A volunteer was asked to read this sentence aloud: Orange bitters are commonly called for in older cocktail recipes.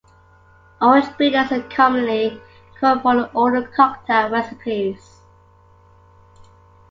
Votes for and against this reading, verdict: 2, 0, accepted